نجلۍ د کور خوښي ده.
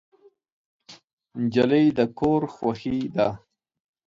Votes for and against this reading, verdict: 2, 0, accepted